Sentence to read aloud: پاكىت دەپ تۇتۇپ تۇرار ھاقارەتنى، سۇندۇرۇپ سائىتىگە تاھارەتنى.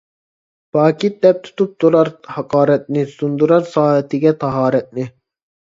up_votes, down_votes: 0, 2